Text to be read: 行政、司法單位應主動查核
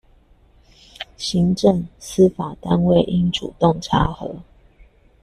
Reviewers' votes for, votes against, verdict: 2, 0, accepted